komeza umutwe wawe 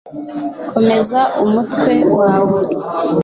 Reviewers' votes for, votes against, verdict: 2, 0, accepted